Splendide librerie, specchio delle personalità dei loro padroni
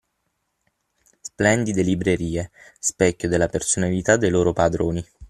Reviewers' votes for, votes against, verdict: 6, 9, rejected